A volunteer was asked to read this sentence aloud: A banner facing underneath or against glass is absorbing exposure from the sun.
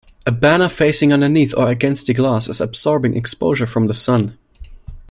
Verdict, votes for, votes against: accepted, 2, 0